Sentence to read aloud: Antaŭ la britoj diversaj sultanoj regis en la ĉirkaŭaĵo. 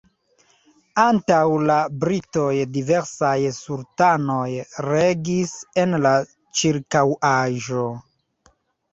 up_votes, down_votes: 2, 0